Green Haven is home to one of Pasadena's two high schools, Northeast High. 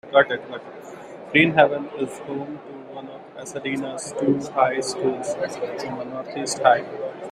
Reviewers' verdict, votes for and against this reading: rejected, 0, 2